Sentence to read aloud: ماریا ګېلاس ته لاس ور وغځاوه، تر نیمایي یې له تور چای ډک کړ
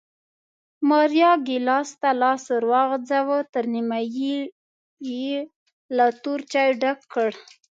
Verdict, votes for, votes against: accepted, 2, 0